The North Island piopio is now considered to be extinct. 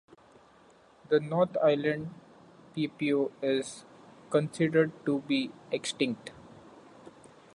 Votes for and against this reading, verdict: 1, 2, rejected